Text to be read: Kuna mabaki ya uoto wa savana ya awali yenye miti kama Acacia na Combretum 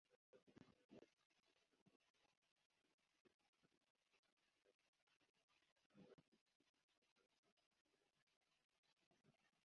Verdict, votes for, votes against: rejected, 1, 2